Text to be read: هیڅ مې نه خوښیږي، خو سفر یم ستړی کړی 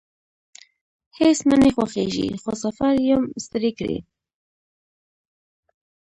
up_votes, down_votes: 1, 2